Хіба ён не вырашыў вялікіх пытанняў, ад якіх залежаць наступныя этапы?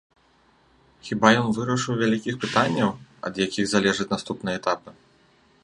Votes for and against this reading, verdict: 0, 2, rejected